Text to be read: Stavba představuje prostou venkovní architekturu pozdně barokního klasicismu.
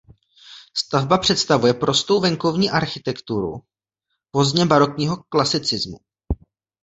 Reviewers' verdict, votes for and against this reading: rejected, 1, 2